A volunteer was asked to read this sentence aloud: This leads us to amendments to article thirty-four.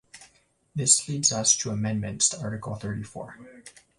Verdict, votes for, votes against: accepted, 2, 0